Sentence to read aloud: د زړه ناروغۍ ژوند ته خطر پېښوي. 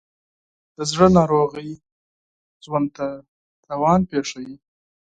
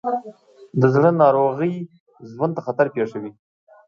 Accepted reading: second